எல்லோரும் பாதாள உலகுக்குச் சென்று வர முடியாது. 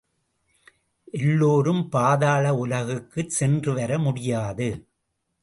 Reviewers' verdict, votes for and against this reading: accepted, 2, 0